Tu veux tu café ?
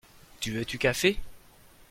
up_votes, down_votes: 2, 0